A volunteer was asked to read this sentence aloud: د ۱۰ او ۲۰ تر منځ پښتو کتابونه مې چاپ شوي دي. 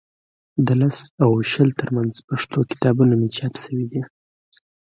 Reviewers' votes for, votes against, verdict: 0, 2, rejected